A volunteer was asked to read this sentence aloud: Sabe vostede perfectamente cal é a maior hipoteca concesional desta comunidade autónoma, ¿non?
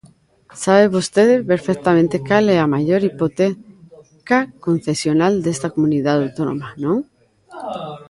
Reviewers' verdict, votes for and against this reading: rejected, 1, 2